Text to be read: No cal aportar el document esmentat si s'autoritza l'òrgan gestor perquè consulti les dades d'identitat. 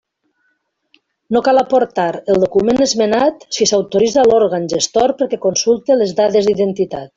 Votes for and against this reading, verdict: 0, 2, rejected